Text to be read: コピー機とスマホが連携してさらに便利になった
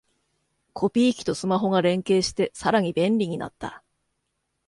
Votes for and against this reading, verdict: 2, 0, accepted